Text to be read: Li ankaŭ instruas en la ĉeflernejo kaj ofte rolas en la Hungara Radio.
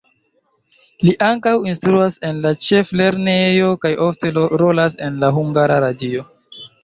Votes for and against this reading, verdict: 1, 2, rejected